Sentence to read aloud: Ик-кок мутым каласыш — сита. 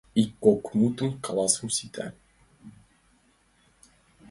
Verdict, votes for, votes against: accepted, 2, 0